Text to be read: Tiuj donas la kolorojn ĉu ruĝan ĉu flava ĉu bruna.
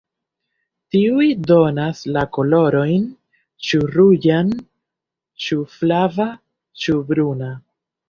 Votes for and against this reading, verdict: 3, 0, accepted